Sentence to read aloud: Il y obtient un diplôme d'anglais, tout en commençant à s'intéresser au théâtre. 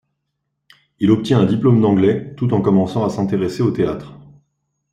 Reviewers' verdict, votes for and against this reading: rejected, 0, 2